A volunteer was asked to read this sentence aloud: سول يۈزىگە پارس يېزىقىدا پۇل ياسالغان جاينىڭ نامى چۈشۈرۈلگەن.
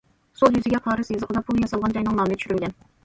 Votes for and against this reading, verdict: 0, 2, rejected